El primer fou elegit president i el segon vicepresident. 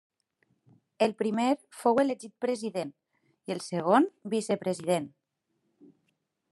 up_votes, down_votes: 3, 0